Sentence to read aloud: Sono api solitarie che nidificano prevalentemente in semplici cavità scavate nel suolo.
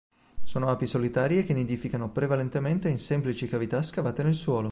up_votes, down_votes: 3, 0